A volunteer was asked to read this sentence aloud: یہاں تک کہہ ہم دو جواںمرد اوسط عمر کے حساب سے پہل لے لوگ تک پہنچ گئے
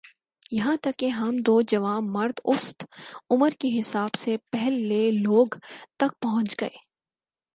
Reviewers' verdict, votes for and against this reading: accepted, 4, 0